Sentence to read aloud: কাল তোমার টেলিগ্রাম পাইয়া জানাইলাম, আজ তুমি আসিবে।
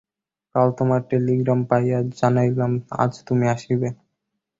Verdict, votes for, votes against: rejected, 2, 2